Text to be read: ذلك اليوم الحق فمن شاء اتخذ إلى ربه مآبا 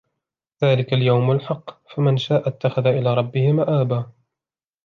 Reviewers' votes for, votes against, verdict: 0, 2, rejected